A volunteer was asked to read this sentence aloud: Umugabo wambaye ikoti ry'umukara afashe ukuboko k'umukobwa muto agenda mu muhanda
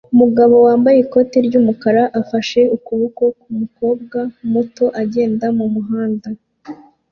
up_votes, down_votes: 2, 0